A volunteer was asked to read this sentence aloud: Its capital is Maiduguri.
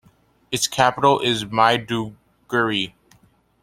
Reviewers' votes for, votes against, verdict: 2, 1, accepted